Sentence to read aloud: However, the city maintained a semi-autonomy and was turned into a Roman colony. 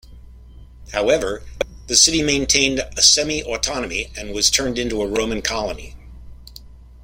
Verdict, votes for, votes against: accepted, 2, 1